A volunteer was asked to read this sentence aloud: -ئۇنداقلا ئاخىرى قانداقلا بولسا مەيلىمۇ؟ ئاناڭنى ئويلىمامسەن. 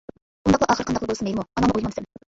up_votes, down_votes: 0, 2